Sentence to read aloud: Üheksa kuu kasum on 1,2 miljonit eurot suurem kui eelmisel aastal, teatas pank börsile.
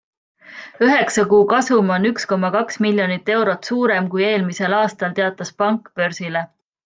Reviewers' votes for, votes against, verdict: 0, 2, rejected